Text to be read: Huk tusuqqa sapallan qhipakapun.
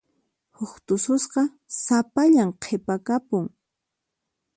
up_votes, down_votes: 2, 4